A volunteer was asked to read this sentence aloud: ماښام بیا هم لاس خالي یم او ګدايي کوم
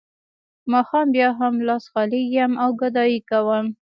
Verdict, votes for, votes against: accepted, 2, 0